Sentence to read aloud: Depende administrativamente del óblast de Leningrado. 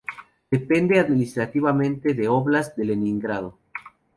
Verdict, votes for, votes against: accepted, 2, 0